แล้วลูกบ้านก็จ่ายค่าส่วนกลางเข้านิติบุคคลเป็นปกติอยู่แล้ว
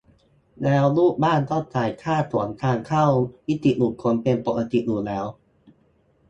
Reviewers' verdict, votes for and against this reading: accepted, 2, 0